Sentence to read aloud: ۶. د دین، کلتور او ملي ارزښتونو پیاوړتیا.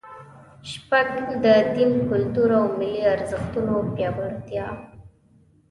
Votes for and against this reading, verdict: 0, 2, rejected